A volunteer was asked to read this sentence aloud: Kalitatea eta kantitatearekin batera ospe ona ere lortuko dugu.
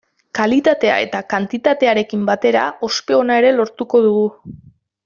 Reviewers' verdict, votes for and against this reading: accepted, 2, 0